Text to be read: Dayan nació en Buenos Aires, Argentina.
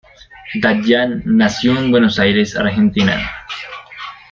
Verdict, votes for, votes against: accepted, 2, 0